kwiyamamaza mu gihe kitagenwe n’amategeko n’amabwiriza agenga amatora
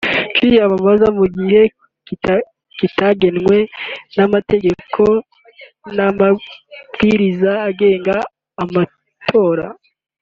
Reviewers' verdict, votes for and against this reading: accepted, 2, 1